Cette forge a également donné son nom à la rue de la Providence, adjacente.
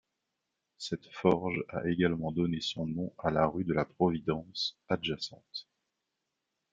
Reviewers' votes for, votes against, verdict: 2, 0, accepted